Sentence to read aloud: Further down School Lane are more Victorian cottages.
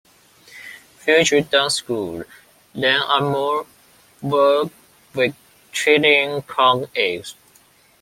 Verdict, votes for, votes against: rejected, 0, 2